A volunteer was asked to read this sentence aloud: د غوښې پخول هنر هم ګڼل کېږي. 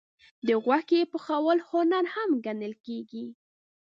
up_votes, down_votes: 2, 0